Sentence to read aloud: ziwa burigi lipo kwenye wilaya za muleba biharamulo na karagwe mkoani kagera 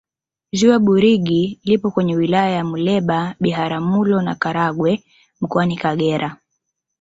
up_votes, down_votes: 3, 2